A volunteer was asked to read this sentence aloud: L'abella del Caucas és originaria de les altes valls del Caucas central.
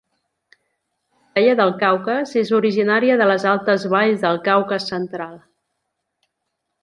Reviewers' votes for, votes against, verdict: 1, 2, rejected